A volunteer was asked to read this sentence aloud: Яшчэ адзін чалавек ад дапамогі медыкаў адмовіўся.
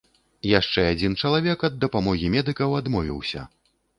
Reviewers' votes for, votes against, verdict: 2, 1, accepted